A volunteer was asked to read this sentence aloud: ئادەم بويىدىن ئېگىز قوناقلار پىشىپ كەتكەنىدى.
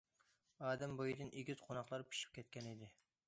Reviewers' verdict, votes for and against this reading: accepted, 2, 0